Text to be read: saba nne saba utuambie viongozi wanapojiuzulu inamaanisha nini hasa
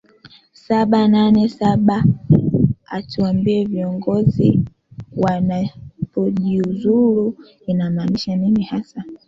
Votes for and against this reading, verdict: 1, 2, rejected